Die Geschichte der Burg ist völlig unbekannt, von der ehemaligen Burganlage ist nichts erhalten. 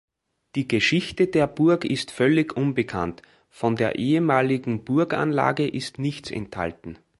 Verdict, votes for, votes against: rejected, 0, 3